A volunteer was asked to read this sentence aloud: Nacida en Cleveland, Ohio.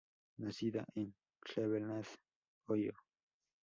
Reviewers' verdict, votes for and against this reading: rejected, 0, 2